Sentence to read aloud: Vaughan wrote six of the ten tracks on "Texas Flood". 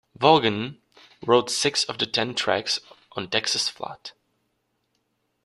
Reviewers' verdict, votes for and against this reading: accepted, 2, 0